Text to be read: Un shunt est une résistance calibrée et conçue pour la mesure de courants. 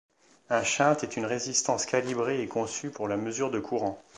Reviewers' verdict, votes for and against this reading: accepted, 2, 0